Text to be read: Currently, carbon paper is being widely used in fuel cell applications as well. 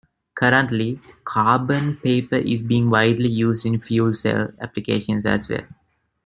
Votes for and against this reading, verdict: 2, 0, accepted